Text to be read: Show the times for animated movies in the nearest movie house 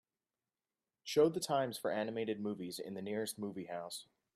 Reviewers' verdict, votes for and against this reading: accepted, 2, 0